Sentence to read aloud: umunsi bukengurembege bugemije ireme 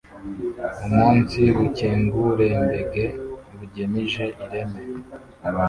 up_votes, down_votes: 1, 2